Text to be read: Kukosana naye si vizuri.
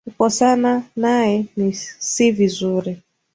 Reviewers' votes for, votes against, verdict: 4, 3, accepted